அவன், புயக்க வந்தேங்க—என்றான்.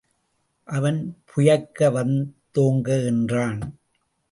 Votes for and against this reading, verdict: 0, 2, rejected